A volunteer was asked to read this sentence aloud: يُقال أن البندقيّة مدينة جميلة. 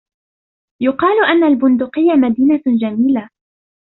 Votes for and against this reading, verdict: 2, 0, accepted